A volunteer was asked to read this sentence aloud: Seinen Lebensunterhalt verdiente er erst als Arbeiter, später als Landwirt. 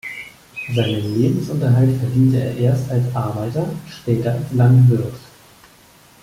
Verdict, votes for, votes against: accepted, 2, 0